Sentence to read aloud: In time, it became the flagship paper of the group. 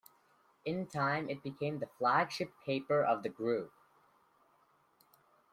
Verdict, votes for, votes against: accepted, 2, 0